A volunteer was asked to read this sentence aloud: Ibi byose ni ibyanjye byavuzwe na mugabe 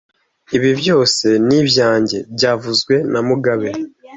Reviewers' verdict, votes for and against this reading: accepted, 2, 0